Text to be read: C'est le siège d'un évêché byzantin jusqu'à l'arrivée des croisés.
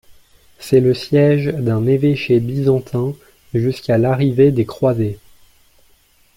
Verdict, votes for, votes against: accepted, 2, 0